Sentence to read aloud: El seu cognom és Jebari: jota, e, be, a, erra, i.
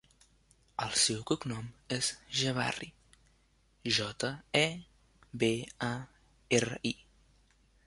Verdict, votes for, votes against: rejected, 1, 2